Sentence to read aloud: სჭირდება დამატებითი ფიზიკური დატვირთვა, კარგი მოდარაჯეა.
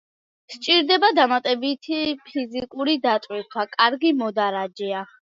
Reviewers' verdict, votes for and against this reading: accepted, 2, 1